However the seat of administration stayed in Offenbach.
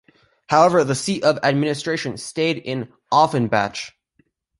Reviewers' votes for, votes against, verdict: 1, 2, rejected